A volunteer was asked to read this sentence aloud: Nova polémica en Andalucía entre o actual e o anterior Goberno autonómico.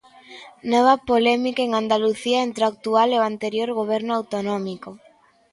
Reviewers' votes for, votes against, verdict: 2, 0, accepted